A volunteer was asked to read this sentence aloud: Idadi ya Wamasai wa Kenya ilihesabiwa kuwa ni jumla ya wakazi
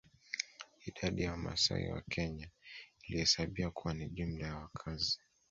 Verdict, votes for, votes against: accepted, 2, 0